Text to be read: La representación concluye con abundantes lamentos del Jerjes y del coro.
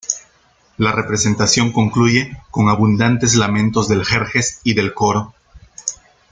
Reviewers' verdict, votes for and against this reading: accepted, 2, 0